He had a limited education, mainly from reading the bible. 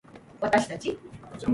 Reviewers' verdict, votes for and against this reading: rejected, 0, 2